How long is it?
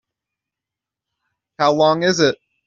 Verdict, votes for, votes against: accepted, 3, 0